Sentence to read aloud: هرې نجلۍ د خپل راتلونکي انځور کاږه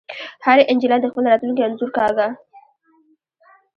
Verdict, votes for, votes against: rejected, 0, 2